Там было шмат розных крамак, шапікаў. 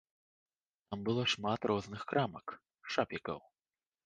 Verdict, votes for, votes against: accepted, 2, 0